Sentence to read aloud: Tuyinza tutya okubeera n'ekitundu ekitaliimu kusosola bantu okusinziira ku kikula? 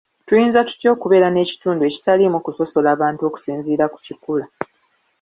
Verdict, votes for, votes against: accepted, 2, 0